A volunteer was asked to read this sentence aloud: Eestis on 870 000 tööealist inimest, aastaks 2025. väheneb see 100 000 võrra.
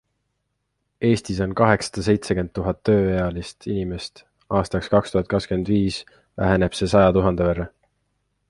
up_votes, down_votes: 0, 2